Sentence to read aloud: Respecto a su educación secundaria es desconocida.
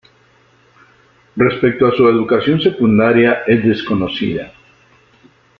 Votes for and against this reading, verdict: 2, 0, accepted